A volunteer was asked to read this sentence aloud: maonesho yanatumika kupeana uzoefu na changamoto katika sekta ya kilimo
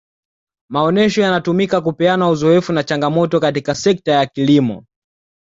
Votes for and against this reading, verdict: 2, 0, accepted